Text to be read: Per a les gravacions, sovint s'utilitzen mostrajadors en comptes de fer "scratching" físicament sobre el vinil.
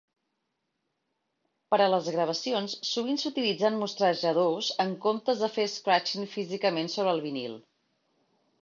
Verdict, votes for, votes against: accepted, 2, 0